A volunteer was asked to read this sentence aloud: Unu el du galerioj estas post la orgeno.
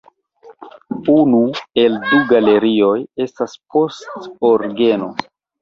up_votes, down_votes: 0, 2